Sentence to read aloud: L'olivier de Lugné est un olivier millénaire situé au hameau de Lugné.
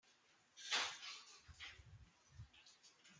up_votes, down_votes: 0, 2